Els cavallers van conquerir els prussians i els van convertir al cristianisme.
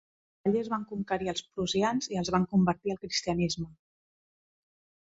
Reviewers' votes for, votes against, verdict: 2, 3, rejected